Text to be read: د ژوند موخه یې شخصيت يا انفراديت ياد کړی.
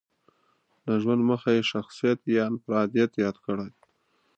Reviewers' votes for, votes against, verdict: 4, 0, accepted